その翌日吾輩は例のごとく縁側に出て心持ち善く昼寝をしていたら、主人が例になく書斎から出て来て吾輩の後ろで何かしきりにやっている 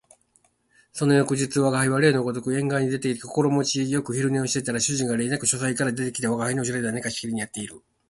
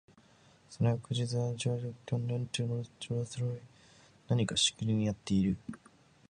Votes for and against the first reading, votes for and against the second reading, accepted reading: 0, 2, 3, 2, second